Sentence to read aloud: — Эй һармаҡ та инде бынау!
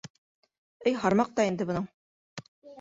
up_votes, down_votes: 1, 2